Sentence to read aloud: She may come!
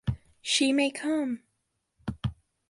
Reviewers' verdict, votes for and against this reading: accepted, 3, 0